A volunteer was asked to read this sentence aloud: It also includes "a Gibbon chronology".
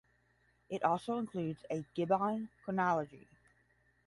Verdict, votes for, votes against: accepted, 5, 0